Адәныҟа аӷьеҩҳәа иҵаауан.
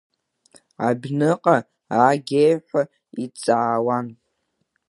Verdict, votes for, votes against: rejected, 1, 2